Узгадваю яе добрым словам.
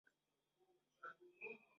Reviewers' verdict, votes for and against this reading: rejected, 0, 2